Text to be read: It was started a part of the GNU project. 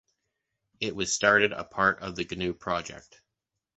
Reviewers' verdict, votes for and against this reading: accepted, 2, 0